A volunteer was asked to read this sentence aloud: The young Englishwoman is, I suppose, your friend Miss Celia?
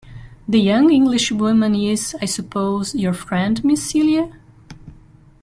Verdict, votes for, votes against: accepted, 2, 0